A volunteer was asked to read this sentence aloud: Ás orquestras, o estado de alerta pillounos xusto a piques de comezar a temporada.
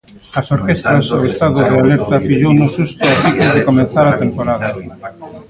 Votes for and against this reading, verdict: 0, 2, rejected